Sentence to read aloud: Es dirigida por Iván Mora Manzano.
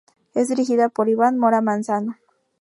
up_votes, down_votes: 2, 0